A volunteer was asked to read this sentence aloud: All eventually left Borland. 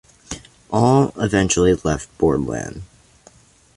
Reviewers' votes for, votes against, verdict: 2, 0, accepted